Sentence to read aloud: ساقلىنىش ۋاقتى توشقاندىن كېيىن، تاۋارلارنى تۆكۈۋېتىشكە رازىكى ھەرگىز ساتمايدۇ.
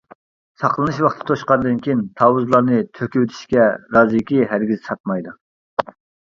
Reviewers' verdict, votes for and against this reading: rejected, 0, 2